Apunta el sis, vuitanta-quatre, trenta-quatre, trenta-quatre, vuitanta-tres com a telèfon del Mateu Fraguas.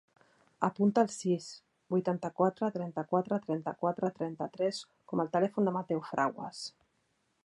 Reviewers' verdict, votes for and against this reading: rejected, 1, 2